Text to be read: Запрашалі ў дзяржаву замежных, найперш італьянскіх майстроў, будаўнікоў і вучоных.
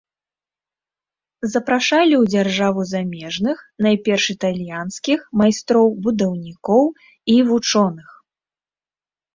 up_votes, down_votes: 2, 0